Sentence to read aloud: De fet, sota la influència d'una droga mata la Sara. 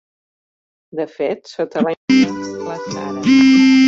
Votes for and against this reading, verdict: 0, 2, rejected